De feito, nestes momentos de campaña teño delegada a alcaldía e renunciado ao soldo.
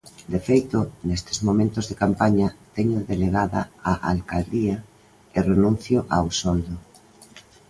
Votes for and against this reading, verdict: 0, 2, rejected